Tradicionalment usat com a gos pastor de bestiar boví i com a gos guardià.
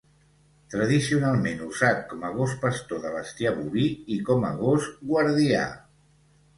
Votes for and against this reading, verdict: 2, 0, accepted